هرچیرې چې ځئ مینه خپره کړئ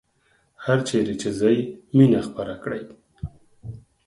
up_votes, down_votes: 4, 2